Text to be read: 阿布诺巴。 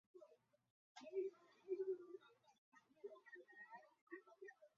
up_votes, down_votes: 1, 2